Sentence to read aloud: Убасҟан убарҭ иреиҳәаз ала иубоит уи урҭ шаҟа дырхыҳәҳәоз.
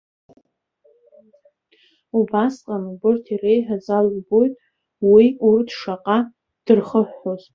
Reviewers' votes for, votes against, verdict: 1, 2, rejected